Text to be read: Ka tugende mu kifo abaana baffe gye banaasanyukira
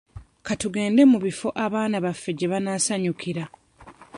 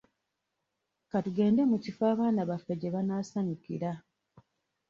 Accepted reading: second